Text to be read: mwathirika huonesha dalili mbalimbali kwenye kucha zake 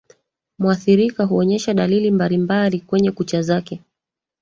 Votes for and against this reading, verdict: 2, 3, rejected